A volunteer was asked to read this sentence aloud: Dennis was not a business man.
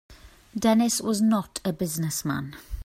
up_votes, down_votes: 2, 0